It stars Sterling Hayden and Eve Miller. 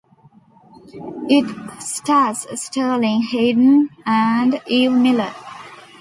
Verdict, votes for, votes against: accepted, 2, 0